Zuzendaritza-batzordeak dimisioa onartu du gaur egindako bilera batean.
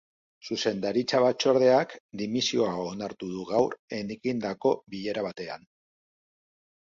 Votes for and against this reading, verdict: 1, 2, rejected